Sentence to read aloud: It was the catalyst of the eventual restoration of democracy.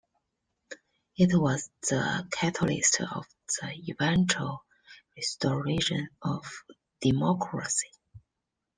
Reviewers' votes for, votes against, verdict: 2, 0, accepted